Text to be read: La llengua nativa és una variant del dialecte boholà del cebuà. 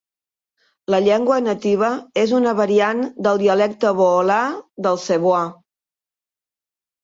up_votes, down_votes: 2, 0